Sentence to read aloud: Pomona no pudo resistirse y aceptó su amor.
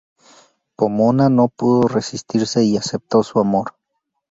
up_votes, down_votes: 0, 2